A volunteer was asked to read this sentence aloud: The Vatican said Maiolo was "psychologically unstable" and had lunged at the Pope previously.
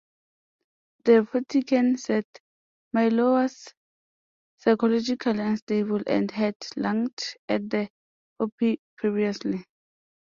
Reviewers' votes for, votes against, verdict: 2, 0, accepted